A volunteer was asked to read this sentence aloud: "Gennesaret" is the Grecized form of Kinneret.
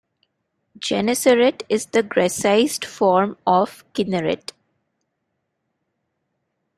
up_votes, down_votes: 2, 0